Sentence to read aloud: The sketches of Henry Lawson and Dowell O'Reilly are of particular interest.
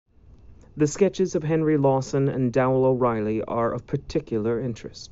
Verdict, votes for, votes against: accepted, 2, 0